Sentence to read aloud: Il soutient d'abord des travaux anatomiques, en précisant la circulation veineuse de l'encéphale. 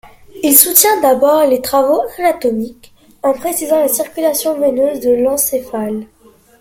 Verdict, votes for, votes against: accepted, 2, 1